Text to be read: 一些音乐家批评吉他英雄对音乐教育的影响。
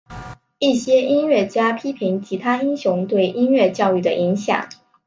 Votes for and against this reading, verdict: 4, 0, accepted